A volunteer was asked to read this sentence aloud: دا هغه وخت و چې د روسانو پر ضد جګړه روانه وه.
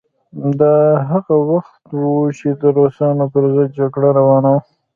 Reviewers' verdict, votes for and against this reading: rejected, 1, 2